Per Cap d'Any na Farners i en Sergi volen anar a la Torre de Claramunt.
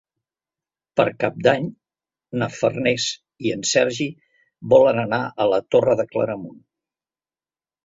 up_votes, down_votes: 3, 0